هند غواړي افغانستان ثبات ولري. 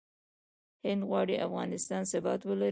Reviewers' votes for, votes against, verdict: 1, 2, rejected